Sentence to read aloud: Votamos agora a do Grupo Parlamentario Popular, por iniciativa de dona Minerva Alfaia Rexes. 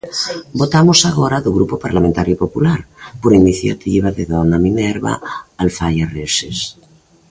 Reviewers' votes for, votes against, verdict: 1, 2, rejected